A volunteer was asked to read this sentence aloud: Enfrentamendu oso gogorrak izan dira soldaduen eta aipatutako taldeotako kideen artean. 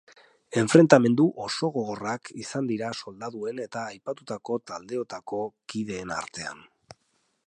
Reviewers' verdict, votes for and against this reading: accepted, 2, 0